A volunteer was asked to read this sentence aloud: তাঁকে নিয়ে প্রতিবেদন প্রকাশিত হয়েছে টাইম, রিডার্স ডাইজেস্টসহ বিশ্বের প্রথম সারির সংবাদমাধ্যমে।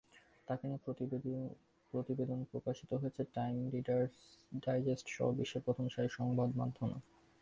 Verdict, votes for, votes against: rejected, 0, 2